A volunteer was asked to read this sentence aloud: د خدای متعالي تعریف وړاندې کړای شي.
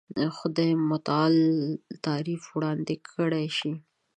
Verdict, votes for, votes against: rejected, 1, 2